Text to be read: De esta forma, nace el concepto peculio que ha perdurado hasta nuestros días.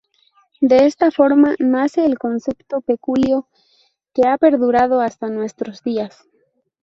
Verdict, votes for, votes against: rejected, 2, 2